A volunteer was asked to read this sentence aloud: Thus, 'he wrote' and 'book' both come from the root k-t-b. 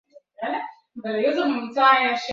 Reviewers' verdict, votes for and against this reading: rejected, 0, 2